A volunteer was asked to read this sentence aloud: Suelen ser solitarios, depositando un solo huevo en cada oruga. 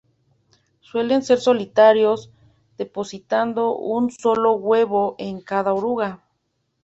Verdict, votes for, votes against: accepted, 2, 0